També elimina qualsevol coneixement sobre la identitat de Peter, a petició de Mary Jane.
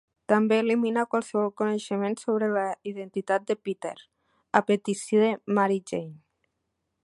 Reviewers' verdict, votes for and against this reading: rejected, 1, 2